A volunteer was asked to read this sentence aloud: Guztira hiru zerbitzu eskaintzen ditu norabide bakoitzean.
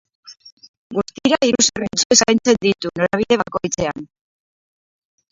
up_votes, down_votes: 4, 8